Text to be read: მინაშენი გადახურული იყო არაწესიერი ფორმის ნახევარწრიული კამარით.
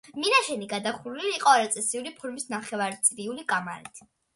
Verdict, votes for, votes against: rejected, 0, 2